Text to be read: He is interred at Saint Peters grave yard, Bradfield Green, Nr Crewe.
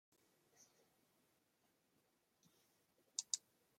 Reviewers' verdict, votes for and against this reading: rejected, 0, 2